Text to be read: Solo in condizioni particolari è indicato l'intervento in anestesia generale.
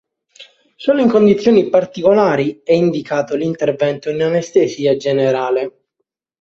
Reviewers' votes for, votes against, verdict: 3, 0, accepted